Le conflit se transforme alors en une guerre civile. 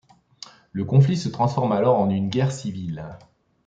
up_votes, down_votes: 2, 0